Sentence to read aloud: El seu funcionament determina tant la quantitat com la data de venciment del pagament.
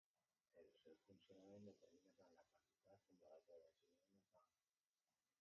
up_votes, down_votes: 0, 2